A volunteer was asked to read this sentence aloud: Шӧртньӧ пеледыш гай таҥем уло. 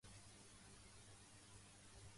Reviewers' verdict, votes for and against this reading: rejected, 1, 3